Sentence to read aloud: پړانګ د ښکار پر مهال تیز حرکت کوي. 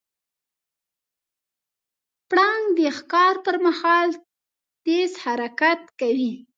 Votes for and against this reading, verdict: 2, 0, accepted